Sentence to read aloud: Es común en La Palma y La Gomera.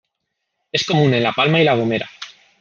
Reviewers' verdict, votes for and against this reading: accepted, 3, 0